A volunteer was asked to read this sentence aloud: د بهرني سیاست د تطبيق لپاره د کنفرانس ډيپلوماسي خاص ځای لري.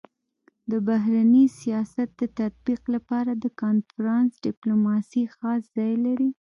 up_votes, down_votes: 0, 2